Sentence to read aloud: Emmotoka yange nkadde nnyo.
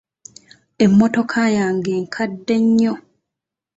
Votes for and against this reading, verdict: 2, 0, accepted